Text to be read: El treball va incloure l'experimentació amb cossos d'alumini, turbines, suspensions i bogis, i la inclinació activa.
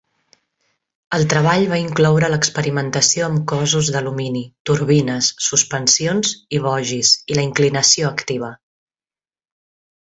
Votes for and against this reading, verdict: 3, 0, accepted